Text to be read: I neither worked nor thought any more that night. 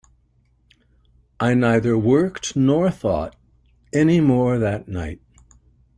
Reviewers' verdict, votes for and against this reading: accepted, 2, 0